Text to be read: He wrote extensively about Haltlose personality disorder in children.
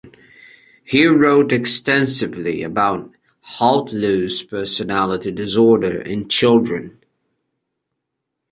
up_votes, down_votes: 4, 0